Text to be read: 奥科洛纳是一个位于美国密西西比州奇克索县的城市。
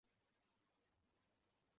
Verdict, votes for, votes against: rejected, 0, 2